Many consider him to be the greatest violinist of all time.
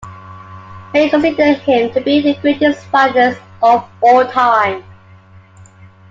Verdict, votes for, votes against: accepted, 2, 1